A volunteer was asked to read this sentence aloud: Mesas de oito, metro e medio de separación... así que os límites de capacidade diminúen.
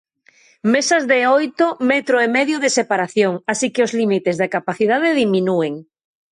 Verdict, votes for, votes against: accepted, 2, 0